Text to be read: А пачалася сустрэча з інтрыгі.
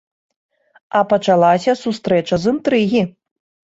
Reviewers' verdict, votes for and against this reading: accepted, 3, 0